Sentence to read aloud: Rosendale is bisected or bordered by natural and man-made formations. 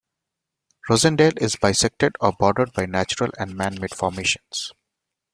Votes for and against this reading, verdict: 2, 0, accepted